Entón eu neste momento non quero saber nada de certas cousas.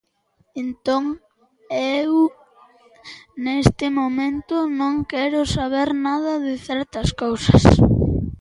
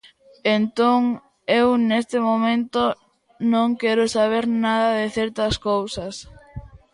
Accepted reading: second